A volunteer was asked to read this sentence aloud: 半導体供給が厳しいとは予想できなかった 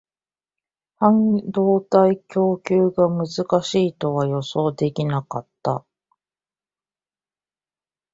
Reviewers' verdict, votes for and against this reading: rejected, 0, 2